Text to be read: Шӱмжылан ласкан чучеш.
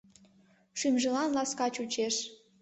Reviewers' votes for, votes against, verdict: 0, 2, rejected